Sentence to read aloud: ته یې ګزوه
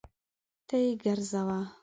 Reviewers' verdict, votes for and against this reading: rejected, 0, 2